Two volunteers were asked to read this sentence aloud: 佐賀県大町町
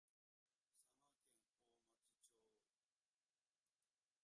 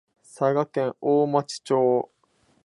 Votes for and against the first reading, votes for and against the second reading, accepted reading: 0, 2, 3, 0, second